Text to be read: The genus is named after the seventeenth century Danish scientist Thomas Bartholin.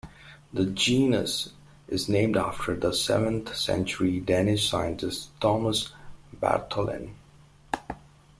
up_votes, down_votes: 0, 2